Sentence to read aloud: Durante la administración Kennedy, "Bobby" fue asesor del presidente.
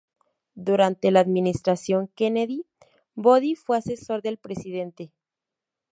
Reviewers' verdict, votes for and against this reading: accepted, 2, 0